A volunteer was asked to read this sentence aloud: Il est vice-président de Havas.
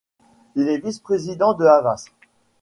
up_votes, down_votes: 2, 0